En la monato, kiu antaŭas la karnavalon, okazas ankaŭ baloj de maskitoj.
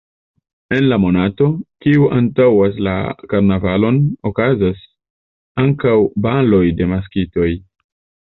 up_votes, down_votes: 2, 0